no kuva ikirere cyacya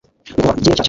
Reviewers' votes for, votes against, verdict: 1, 2, rejected